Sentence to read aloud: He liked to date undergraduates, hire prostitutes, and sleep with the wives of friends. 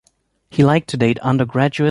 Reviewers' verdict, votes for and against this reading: rejected, 0, 2